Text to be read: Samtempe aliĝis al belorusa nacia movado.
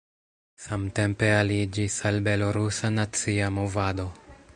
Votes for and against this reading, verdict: 1, 2, rejected